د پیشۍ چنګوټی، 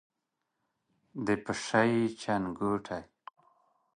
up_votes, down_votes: 1, 2